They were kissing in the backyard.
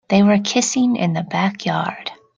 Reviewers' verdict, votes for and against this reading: accepted, 2, 0